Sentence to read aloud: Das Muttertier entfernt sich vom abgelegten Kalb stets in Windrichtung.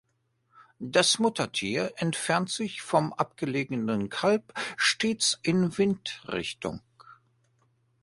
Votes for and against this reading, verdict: 0, 2, rejected